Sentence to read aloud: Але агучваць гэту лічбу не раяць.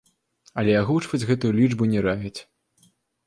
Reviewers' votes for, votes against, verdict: 2, 0, accepted